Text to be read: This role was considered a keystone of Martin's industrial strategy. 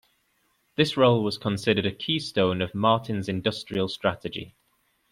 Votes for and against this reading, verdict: 2, 0, accepted